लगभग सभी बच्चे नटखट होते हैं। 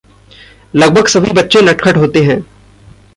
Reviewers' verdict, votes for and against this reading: rejected, 0, 2